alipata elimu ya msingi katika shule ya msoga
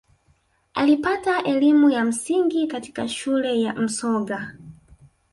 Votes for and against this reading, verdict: 2, 0, accepted